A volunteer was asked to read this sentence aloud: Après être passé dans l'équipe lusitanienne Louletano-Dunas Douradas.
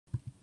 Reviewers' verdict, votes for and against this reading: rejected, 0, 2